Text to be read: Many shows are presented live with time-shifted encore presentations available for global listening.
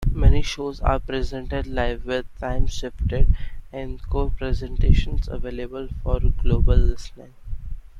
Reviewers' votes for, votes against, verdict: 0, 2, rejected